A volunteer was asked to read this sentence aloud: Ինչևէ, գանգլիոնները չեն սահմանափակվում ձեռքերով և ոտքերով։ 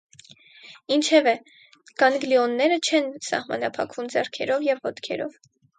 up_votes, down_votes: 2, 2